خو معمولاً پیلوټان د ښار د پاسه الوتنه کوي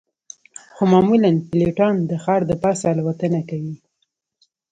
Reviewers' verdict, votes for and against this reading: accepted, 2, 0